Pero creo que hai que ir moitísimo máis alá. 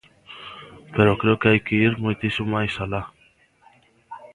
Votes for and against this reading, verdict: 2, 0, accepted